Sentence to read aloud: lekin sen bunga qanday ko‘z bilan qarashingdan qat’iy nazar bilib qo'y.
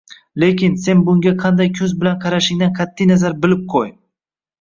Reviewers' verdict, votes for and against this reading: rejected, 0, 2